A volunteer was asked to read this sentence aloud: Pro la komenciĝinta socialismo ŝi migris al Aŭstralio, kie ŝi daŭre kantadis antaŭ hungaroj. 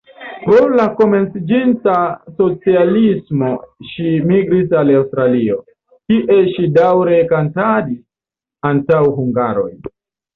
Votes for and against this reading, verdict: 2, 0, accepted